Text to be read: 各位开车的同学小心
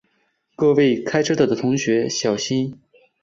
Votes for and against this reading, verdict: 2, 3, rejected